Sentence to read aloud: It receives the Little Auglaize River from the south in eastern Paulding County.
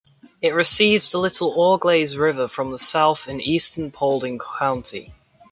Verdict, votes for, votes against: accepted, 2, 0